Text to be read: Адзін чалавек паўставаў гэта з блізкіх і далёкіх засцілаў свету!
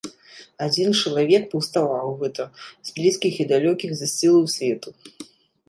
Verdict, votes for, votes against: accepted, 2, 0